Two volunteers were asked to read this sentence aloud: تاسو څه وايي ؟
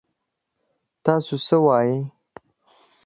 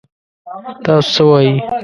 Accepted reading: first